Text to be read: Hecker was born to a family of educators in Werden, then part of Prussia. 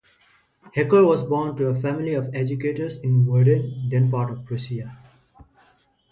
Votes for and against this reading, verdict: 2, 0, accepted